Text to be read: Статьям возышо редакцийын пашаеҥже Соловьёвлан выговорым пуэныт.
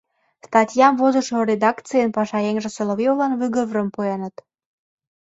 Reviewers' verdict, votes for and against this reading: rejected, 0, 2